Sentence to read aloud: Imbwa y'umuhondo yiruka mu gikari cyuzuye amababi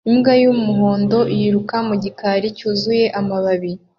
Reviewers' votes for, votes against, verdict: 2, 0, accepted